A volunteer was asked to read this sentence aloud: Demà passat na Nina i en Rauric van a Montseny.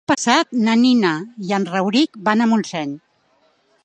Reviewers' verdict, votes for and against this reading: rejected, 0, 2